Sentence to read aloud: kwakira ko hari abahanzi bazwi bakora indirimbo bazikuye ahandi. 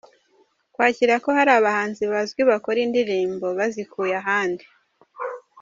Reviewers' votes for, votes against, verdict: 1, 2, rejected